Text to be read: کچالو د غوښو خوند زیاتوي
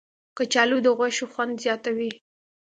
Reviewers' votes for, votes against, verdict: 2, 0, accepted